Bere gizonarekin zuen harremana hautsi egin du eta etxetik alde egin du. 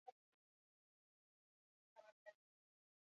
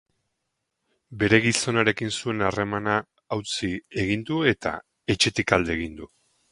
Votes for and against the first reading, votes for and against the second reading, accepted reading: 0, 4, 6, 2, second